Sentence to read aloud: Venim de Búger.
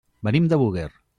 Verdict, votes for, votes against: rejected, 0, 2